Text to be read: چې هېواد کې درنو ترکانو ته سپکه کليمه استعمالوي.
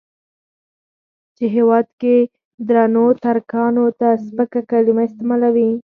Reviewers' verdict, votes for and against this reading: accepted, 4, 0